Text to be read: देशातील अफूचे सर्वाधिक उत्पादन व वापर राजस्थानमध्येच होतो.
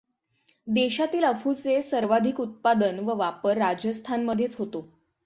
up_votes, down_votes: 6, 3